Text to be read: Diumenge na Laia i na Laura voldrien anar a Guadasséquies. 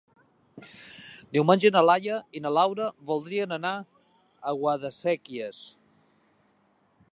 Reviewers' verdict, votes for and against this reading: accepted, 3, 0